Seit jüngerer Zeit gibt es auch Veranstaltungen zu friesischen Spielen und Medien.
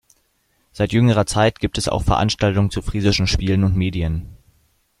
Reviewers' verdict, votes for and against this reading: rejected, 1, 2